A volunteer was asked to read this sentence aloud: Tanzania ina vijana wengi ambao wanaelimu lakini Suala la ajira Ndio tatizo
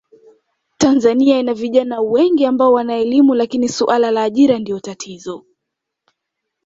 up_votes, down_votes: 2, 0